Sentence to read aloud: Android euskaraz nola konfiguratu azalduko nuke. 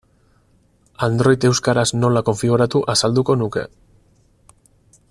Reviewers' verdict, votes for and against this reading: accepted, 4, 0